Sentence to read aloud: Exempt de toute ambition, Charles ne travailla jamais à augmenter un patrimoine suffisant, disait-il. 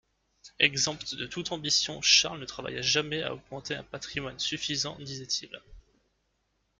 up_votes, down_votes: 0, 2